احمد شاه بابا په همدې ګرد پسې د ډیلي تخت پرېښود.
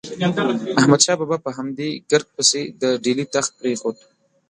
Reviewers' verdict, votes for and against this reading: rejected, 1, 2